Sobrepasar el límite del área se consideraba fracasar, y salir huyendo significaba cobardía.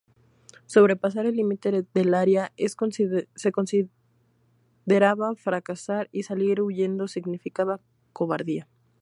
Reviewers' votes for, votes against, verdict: 0, 2, rejected